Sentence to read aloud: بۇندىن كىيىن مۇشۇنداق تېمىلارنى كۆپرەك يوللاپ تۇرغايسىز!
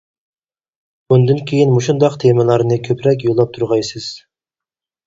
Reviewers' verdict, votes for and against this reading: accepted, 4, 0